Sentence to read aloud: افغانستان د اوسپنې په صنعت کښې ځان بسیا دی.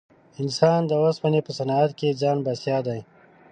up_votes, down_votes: 1, 2